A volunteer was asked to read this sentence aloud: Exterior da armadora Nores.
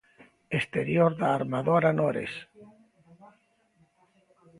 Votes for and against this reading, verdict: 2, 0, accepted